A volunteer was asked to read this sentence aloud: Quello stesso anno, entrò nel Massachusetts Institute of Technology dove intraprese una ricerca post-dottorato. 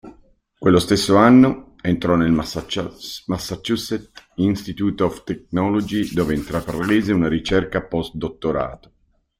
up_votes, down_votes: 0, 2